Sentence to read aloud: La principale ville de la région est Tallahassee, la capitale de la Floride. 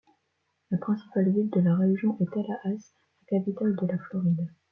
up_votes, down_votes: 0, 2